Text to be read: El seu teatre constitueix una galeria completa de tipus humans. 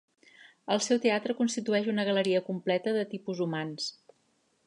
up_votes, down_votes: 3, 0